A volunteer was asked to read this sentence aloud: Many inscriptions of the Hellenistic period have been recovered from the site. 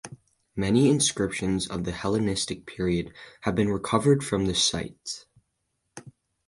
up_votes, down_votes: 4, 0